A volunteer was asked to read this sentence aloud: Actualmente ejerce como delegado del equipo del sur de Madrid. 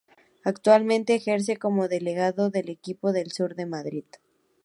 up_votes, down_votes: 4, 0